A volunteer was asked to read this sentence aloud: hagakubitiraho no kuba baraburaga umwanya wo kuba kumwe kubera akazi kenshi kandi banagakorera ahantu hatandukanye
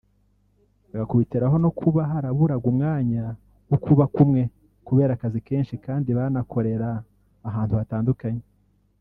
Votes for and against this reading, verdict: 0, 3, rejected